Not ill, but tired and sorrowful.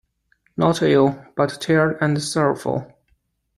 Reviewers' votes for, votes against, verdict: 0, 2, rejected